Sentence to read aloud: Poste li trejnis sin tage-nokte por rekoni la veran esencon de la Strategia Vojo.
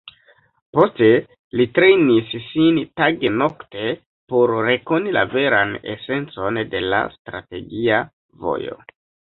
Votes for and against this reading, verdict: 2, 1, accepted